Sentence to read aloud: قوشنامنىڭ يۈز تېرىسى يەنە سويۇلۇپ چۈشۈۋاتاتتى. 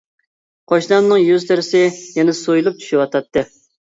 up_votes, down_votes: 2, 0